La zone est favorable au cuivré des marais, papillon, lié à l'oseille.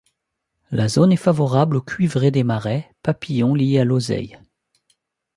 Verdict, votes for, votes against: accepted, 2, 1